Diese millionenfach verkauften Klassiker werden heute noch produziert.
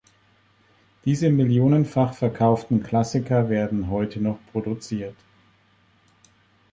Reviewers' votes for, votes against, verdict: 3, 0, accepted